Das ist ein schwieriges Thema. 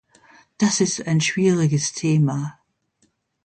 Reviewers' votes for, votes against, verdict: 2, 0, accepted